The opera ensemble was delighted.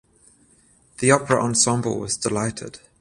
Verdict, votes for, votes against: accepted, 14, 0